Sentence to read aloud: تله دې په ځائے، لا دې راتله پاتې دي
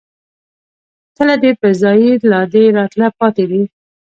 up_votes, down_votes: 2, 0